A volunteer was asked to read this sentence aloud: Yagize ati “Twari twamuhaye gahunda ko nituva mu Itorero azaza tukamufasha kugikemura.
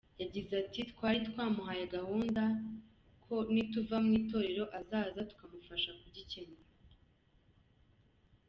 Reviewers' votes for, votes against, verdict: 2, 0, accepted